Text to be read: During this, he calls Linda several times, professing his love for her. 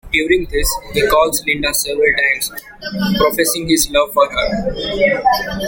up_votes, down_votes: 2, 1